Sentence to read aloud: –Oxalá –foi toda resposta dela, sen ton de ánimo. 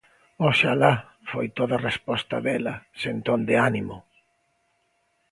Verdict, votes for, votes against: accepted, 2, 0